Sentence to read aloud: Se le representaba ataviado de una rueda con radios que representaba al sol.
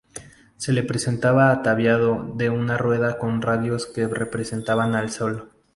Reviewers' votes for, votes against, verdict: 0, 2, rejected